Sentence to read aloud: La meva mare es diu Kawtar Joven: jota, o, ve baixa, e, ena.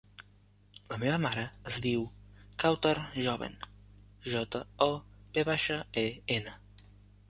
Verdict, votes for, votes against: accepted, 2, 0